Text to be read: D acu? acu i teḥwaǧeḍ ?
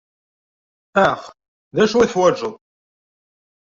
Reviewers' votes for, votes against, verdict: 0, 2, rejected